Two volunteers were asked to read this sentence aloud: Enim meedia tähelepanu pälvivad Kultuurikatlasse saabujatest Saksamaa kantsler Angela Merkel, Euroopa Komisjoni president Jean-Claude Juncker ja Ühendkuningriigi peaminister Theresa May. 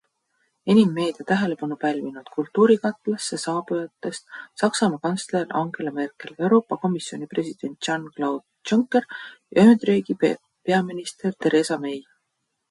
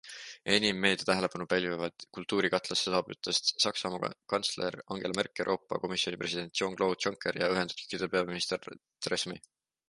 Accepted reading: second